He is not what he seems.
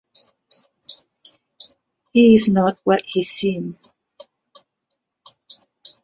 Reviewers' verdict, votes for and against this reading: accepted, 2, 0